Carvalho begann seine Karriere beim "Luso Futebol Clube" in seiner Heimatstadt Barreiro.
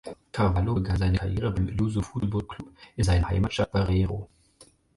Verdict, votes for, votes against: rejected, 0, 6